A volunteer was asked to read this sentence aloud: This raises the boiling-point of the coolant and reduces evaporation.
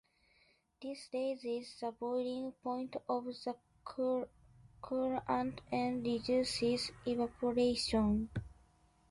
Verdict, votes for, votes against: rejected, 0, 2